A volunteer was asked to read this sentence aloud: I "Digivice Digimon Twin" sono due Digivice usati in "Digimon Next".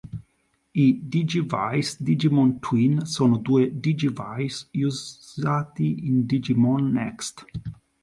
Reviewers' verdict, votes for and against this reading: rejected, 1, 2